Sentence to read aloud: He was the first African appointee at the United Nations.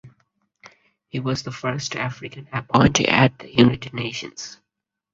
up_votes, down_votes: 2, 0